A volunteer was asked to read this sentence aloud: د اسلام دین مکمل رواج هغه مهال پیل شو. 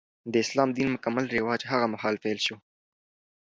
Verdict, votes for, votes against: accepted, 2, 0